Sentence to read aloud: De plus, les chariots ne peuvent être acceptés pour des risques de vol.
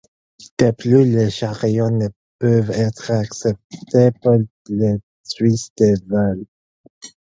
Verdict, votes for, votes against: accepted, 4, 2